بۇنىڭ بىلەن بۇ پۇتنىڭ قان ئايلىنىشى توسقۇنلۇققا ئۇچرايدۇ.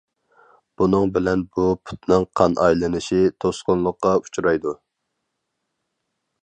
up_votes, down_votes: 4, 0